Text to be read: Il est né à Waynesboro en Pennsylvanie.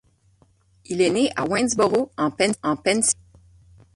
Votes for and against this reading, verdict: 0, 6, rejected